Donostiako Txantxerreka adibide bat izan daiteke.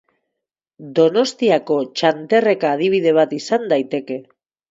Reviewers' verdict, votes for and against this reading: rejected, 0, 4